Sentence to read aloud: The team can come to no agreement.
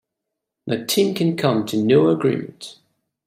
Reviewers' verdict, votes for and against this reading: accepted, 2, 0